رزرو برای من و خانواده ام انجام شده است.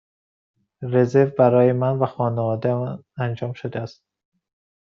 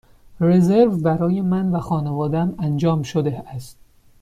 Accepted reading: first